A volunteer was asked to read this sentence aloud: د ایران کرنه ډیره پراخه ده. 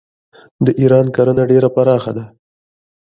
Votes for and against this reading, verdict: 2, 0, accepted